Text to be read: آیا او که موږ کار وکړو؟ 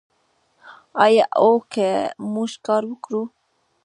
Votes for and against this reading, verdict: 1, 2, rejected